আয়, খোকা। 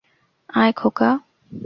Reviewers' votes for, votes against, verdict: 2, 0, accepted